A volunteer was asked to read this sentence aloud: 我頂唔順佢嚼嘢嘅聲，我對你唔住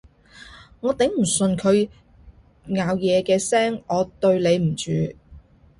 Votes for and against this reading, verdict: 0, 2, rejected